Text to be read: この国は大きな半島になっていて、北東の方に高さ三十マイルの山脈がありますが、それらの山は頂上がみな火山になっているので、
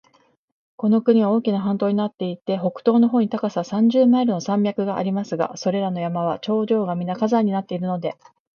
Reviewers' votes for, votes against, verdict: 4, 0, accepted